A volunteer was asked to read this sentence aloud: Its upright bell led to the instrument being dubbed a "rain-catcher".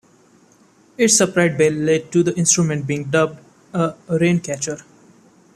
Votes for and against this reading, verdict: 2, 1, accepted